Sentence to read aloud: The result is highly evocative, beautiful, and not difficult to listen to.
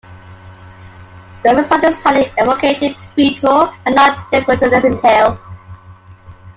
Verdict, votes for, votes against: rejected, 1, 2